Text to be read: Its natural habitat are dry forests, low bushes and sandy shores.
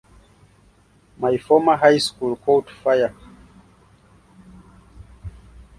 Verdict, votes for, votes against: rejected, 0, 2